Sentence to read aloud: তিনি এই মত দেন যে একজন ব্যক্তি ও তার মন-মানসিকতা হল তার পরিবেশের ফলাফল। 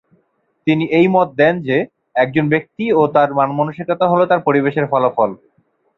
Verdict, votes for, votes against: rejected, 2, 2